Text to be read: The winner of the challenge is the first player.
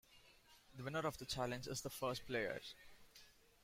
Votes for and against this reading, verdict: 1, 2, rejected